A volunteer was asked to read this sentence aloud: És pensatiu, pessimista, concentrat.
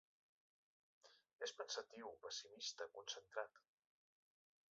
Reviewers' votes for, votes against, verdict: 0, 2, rejected